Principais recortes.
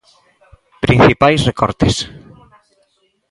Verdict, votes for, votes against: accepted, 2, 0